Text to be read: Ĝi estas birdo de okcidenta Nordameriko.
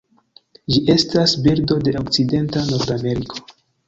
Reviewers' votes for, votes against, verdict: 1, 2, rejected